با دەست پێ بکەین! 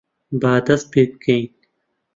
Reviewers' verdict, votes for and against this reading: rejected, 1, 2